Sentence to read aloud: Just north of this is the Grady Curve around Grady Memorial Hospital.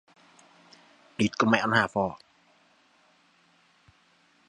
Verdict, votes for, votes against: rejected, 0, 2